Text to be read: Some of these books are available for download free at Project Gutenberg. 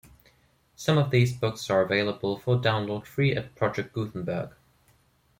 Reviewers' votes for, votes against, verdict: 2, 0, accepted